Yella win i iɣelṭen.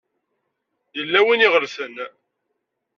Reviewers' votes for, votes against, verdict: 1, 2, rejected